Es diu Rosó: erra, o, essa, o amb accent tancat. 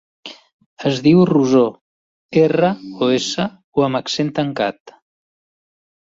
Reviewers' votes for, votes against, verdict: 0, 2, rejected